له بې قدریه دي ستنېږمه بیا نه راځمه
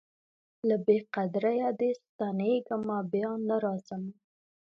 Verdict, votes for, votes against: rejected, 0, 2